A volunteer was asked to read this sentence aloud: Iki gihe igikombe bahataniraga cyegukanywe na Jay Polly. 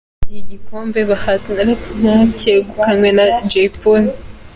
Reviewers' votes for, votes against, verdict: 2, 0, accepted